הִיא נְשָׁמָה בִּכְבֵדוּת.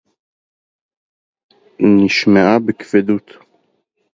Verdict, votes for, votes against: rejected, 0, 2